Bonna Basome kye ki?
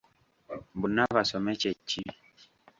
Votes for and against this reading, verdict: 1, 2, rejected